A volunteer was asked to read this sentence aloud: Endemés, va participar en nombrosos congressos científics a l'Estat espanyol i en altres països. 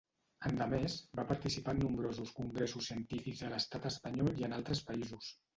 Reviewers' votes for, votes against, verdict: 1, 2, rejected